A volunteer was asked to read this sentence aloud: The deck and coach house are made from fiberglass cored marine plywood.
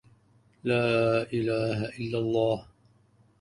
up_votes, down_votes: 0, 2